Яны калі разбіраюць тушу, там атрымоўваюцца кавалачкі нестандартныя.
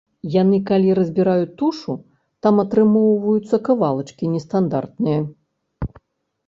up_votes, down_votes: 3, 0